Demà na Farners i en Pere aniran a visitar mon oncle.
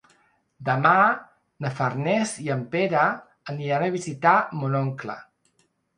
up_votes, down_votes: 2, 0